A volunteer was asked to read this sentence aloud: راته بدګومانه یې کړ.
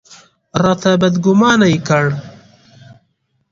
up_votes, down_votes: 3, 0